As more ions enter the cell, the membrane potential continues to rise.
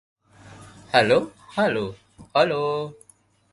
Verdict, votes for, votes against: rejected, 0, 2